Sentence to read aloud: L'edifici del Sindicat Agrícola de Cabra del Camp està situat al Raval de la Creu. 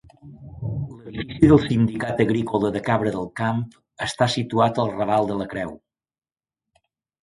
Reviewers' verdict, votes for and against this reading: rejected, 1, 2